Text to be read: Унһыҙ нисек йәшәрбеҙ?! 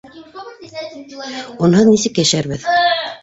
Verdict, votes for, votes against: rejected, 1, 2